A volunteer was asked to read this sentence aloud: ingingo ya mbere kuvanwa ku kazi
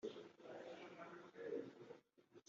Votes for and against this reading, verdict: 0, 2, rejected